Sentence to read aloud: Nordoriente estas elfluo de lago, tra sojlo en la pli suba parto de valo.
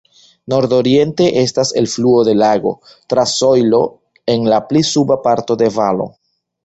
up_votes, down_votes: 2, 1